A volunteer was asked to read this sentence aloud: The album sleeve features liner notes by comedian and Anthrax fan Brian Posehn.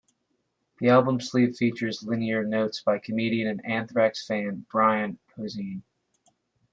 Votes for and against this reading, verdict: 1, 2, rejected